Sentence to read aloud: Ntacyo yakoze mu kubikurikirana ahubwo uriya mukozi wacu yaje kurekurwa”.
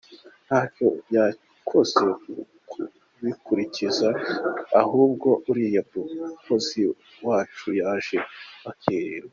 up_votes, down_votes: 0, 3